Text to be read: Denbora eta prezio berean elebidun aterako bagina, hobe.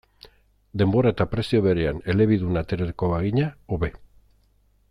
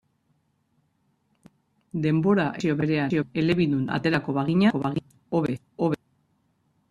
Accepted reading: first